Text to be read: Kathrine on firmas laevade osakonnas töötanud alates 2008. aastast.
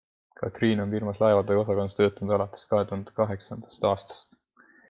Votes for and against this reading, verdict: 0, 2, rejected